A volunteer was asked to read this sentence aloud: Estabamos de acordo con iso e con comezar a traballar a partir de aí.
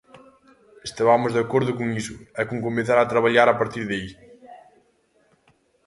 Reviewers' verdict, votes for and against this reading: accepted, 2, 0